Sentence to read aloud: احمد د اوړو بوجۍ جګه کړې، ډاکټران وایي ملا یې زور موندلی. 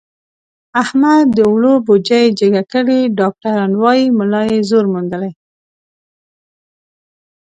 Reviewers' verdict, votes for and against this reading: accepted, 2, 0